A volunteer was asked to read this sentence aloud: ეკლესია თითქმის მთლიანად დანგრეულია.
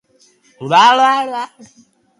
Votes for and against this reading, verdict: 0, 2, rejected